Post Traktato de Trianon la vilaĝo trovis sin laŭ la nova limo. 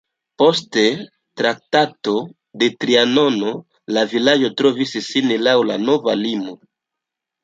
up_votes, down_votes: 1, 2